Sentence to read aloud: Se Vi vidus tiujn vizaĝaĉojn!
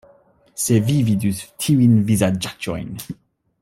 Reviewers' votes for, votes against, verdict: 2, 0, accepted